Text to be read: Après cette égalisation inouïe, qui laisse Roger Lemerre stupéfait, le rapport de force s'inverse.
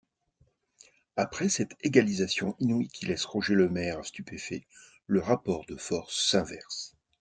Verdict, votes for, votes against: accepted, 2, 0